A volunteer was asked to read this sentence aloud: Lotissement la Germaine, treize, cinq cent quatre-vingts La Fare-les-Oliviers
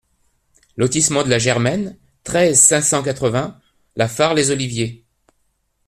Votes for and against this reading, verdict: 0, 2, rejected